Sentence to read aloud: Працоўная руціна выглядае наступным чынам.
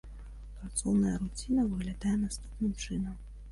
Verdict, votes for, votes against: rejected, 1, 2